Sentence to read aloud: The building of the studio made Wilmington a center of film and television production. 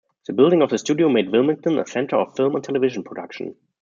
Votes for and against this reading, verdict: 2, 0, accepted